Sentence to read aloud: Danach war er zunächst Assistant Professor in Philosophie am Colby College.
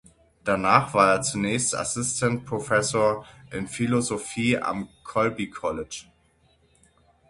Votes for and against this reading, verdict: 6, 0, accepted